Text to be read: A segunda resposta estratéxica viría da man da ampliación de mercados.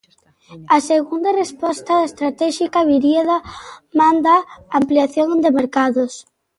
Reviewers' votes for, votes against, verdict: 2, 0, accepted